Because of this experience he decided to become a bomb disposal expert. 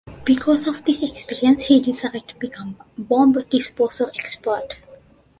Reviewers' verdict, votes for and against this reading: accepted, 2, 0